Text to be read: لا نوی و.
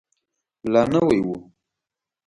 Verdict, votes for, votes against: accepted, 2, 0